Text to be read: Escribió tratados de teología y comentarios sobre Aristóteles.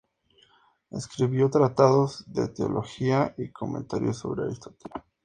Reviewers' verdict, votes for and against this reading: accepted, 2, 0